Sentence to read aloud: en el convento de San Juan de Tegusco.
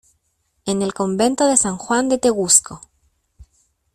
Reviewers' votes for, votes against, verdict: 2, 0, accepted